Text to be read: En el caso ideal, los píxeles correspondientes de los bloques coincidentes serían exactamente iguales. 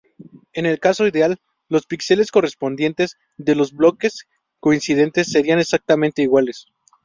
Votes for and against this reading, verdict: 0, 2, rejected